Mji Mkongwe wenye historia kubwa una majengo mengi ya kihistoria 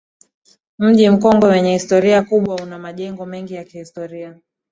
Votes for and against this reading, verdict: 2, 0, accepted